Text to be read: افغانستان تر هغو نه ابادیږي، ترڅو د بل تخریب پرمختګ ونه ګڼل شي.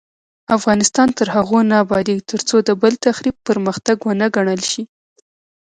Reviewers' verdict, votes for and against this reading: rejected, 1, 2